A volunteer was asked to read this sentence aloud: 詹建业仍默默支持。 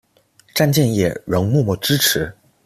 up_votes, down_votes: 2, 1